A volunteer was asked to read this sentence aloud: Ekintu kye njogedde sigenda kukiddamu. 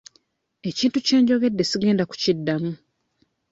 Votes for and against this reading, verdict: 2, 0, accepted